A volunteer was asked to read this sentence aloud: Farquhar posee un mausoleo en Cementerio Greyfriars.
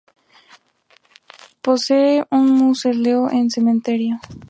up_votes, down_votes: 2, 2